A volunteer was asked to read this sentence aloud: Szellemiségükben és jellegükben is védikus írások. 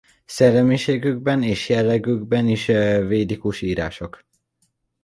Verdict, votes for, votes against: rejected, 1, 2